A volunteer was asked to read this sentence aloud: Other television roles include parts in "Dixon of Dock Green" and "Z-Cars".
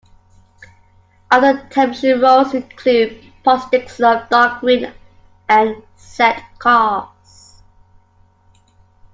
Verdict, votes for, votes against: rejected, 0, 2